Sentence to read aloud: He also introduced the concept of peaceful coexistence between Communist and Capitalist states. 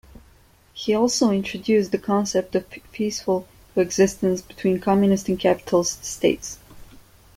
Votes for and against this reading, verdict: 1, 2, rejected